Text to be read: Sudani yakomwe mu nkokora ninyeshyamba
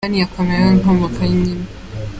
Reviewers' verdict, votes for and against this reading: rejected, 0, 4